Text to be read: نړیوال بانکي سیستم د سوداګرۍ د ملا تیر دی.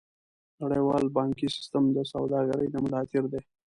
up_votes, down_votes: 2, 0